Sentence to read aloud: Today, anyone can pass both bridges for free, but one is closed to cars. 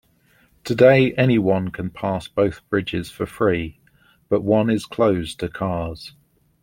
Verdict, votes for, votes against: accepted, 2, 0